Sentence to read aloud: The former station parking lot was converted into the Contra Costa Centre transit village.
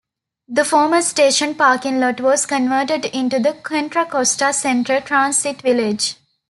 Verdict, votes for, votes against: accepted, 2, 0